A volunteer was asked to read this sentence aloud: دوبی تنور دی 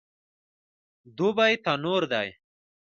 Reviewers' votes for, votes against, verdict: 2, 0, accepted